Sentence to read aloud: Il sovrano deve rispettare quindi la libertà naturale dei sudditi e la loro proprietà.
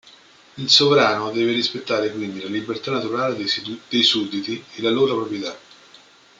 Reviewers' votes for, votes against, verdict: 1, 2, rejected